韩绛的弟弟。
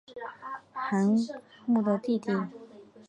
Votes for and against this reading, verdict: 2, 1, accepted